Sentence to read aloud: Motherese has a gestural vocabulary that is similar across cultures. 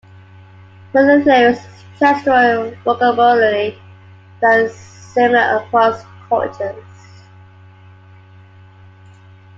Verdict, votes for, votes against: accepted, 2, 1